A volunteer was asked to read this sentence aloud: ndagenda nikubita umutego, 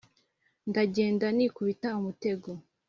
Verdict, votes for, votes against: accepted, 4, 0